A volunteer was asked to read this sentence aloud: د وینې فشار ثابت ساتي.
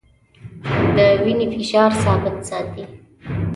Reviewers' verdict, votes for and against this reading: rejected, 0, 2